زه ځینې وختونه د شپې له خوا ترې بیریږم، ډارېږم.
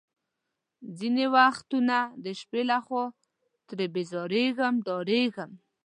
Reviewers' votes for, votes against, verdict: 0, 2, rejected